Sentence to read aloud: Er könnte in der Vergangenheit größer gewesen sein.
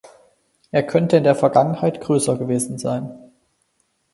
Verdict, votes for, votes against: accepted, 4, 0